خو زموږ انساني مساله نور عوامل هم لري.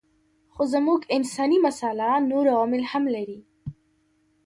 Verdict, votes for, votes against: accepted, 2, 0